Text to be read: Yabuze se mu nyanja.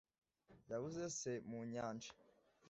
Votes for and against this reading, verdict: 2, 0, accepted